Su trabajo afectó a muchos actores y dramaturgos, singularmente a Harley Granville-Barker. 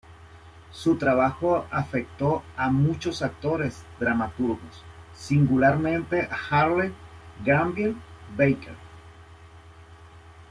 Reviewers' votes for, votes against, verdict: 1, 2, rejected